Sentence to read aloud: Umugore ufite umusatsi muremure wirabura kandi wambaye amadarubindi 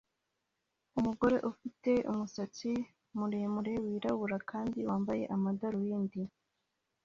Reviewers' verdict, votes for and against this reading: accepted, 2, 1